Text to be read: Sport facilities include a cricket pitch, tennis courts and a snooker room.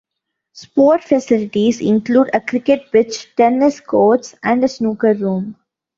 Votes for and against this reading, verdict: 2, 0, accepted